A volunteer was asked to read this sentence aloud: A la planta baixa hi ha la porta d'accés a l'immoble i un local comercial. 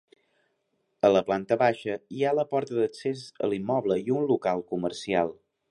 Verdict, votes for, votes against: accepted, 3, 0